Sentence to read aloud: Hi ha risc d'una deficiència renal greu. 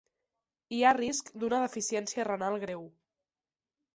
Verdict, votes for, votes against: accepted, 2, 0